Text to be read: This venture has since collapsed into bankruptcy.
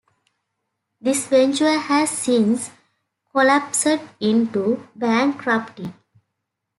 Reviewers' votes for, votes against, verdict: 2, 1, accepted